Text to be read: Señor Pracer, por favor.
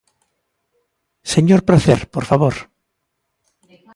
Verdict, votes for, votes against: accepted, 2, 0